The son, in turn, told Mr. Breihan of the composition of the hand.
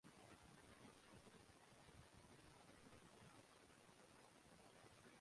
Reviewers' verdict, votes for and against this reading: rejected, 1, 2